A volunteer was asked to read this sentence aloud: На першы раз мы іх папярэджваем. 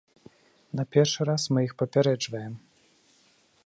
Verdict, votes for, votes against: accepted, 2, 0